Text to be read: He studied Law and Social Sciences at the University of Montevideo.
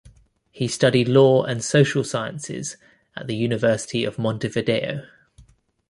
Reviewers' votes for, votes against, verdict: 2, 0, accepted